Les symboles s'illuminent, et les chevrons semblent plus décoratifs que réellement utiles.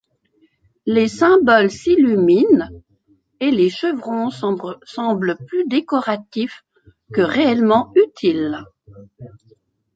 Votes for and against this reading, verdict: 1, 2, rejected